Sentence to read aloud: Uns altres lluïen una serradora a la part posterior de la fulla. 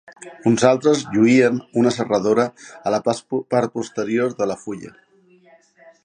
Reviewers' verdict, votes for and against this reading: accepted, 2, 0